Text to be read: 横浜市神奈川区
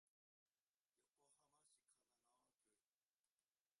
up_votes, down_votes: 1, 2